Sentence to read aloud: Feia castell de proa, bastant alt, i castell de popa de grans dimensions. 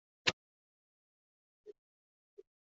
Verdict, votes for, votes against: rejected, 0, 2